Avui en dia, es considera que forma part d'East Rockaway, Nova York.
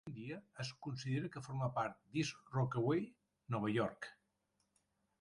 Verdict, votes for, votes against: rejected, 1, 2